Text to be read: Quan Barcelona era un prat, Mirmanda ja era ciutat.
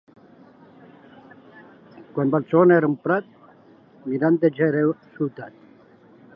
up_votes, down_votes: 0, 2